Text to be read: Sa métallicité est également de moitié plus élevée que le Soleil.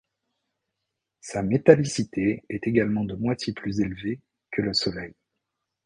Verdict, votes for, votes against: accepted, 3, 0